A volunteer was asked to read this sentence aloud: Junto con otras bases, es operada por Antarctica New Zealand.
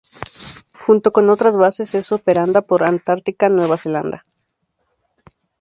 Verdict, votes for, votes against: rejected, 0, 2